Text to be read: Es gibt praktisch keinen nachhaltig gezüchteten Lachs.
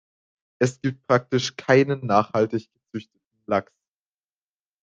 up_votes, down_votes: 0, 2